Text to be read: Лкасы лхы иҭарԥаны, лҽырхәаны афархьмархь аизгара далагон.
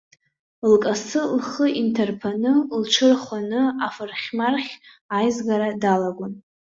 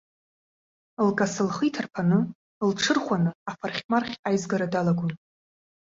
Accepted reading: second